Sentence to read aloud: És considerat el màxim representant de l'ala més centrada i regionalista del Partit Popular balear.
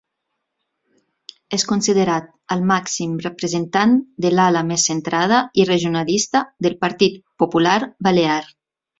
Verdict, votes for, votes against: accepted, 3, 0